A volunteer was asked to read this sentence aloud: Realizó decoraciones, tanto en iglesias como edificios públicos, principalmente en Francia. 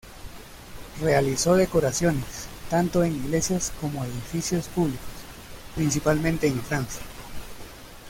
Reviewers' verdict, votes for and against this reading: accepted, 2, 0